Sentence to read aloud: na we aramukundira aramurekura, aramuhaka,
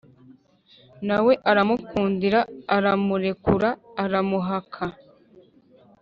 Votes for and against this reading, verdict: 2, 0, accepted